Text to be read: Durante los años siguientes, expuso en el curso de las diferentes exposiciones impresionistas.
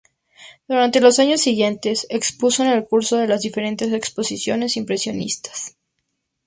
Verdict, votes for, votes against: accepted, 2, 0